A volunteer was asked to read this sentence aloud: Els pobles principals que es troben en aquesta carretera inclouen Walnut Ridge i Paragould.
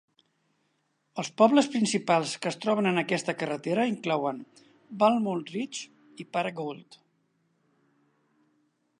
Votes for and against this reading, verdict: 2, 1, accepted